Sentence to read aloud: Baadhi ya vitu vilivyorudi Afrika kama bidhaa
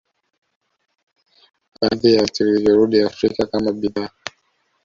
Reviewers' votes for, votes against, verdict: 0, 2, rejected